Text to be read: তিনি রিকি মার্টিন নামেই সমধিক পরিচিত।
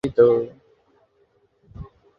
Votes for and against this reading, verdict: 0, 2, rejected